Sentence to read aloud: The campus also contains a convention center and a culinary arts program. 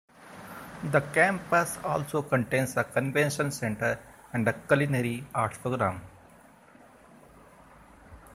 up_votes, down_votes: 2, 0